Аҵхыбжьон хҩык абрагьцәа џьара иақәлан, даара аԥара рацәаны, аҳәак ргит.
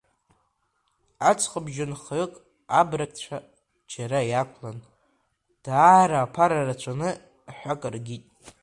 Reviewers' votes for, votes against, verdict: 0, 2, rejected